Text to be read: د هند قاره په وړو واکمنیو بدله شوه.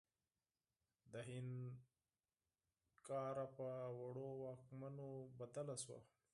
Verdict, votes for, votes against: rejected, 2, 4